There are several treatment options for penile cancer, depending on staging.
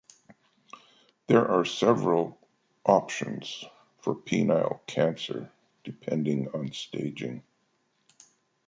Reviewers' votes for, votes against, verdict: 0, 2, rejected